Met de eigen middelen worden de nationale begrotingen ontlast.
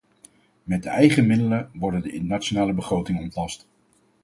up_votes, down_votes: 2, 2